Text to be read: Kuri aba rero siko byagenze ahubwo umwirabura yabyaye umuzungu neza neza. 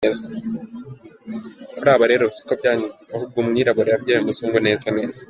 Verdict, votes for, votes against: accepted, 2, 0